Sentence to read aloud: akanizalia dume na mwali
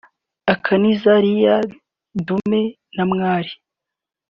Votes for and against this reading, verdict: 2, 1, accepted